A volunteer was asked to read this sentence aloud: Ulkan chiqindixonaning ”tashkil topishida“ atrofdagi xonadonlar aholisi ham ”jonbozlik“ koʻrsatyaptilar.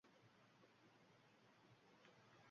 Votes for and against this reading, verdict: 0, 2, rejected